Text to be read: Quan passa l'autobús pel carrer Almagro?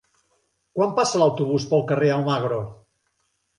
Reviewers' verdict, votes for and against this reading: accepted, 3, 0